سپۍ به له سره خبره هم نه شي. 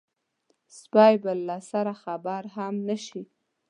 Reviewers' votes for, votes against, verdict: 1, 2, rejected